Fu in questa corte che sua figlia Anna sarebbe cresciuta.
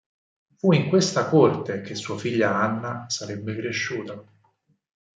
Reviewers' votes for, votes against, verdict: 4, 0, accepted